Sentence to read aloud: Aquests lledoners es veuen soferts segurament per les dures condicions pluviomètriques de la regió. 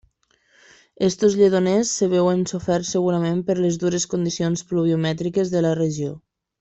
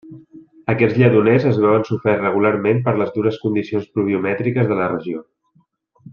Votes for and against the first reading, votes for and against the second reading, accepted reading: 1, 3, 2, 0, second